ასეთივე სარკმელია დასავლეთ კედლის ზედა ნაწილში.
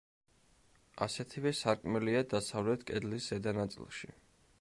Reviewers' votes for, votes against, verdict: 1, 2, rejected